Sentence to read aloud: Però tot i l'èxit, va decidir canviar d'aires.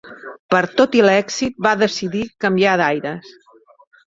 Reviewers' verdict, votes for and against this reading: rejected, 1, 2